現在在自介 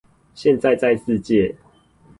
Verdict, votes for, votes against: rejected, 2, 2